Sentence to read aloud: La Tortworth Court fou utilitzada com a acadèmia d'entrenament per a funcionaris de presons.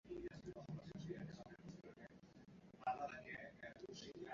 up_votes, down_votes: 0, 2